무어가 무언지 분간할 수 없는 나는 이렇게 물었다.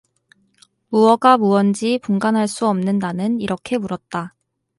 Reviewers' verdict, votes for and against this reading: accepted, 4, 0